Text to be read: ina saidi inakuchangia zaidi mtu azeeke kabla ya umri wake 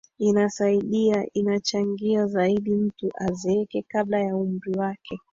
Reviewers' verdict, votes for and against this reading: rejected, 0, 2